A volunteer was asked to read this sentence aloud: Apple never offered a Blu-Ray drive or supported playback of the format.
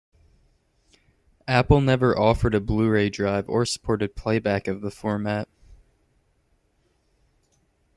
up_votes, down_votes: 2, 0